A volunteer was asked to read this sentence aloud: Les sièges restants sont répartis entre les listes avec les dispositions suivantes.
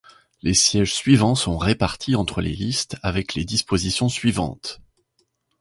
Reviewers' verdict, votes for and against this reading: rejected, 0, 2